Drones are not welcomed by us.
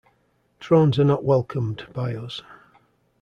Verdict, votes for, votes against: accepted, 2, 0